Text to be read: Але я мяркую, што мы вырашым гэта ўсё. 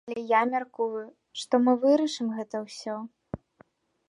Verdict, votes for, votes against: accepted, 2, 1